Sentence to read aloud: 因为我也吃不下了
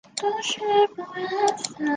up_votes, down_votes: 1, 5